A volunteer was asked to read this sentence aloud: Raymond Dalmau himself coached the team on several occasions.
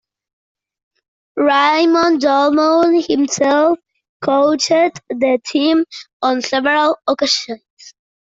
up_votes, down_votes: 1, 2